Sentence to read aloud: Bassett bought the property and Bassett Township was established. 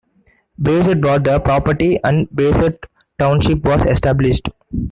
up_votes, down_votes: 0, 2